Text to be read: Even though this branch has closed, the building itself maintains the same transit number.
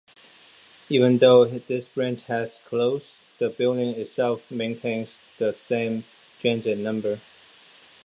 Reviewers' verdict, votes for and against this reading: accepted, 3, 0